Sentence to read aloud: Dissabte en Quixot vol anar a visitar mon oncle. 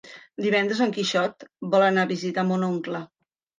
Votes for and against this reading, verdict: 0, 2, rejected